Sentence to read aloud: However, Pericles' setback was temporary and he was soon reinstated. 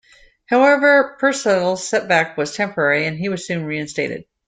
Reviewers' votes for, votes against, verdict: 2, 1, accepted